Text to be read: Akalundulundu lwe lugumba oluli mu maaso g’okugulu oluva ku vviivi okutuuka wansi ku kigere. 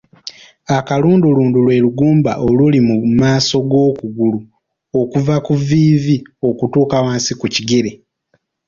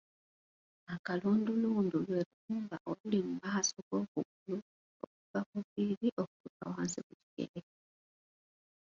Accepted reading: first